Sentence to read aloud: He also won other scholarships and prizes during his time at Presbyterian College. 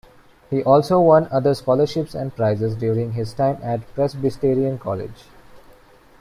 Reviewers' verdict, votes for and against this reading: rejected, 1, 2